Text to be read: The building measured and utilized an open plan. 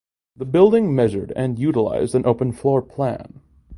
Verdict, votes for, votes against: rejected, 1, 2